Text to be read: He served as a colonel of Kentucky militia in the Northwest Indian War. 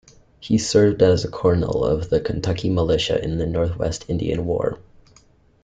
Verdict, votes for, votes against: rejected, 1, 2